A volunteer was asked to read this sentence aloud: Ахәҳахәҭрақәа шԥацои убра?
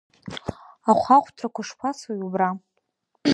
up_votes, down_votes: 1, 2